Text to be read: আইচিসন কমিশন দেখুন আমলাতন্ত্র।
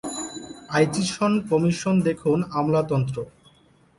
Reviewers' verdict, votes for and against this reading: accepted, 3, 0